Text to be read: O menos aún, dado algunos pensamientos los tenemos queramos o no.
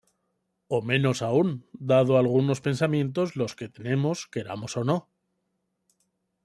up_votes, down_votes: 1, 2